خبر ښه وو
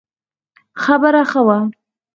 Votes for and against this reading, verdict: 4, 2, accepted